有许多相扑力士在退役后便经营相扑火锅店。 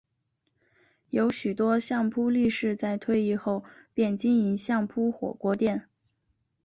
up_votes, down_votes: 4, 0